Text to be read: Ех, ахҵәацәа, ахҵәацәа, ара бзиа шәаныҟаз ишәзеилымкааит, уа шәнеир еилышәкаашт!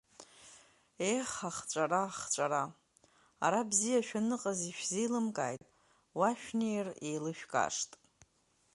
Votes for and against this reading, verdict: 0, 2, rejected